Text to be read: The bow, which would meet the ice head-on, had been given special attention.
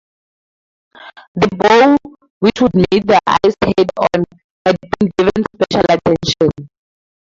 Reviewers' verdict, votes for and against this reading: rejected, 0, 2